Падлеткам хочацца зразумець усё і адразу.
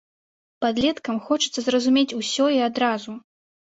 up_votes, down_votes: 2, 1